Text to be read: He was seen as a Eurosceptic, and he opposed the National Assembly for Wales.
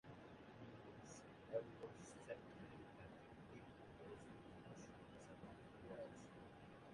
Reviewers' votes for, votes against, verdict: 0, 2, rejected